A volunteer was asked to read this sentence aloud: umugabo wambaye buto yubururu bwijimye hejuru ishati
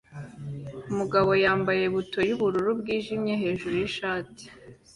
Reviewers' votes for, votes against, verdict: 2, 1, accepted